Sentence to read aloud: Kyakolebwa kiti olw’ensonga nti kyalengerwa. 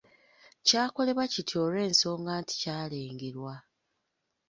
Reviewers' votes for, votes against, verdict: 2, 1, accepted